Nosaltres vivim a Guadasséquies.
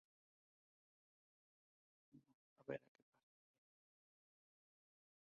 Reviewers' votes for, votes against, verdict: 0, 3, rejected